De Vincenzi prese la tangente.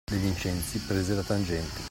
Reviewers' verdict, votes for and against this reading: accepted, 2, 1